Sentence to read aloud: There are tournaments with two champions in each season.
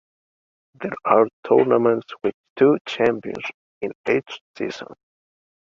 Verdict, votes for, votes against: rejected, 0, 2